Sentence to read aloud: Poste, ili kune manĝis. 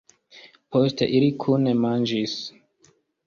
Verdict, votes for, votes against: accepted, 2, 0